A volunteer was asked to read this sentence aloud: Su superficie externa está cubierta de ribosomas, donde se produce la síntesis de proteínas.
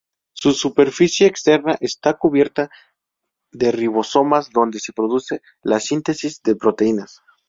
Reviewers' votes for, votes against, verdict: 2, 0, accepted